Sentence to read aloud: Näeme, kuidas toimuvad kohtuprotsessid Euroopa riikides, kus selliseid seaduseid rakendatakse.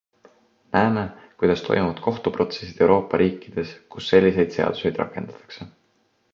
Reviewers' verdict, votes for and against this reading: accepted, 2, 0